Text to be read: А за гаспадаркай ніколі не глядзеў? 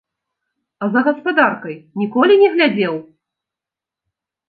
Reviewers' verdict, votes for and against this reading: accepted, 2, 1